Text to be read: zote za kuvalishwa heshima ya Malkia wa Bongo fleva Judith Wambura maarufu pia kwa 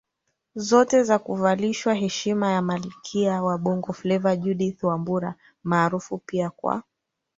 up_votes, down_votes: 2, 0